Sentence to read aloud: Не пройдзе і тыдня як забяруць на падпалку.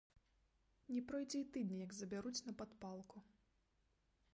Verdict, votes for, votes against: rejected, 1, 2